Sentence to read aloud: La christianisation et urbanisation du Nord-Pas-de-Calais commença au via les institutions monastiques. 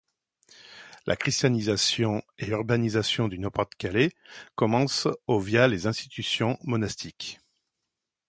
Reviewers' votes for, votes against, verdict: 1, 2, rejected